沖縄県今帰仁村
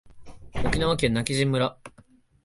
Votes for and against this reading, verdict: 2, 0, accepted